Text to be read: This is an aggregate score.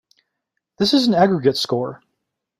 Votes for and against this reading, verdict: 2, 0, accepted